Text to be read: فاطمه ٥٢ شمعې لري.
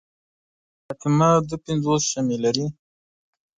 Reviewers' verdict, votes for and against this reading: rejected, 0, 2